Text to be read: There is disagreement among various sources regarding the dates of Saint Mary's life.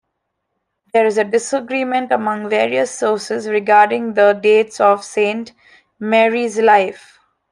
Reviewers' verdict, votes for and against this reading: rejected, 0, 2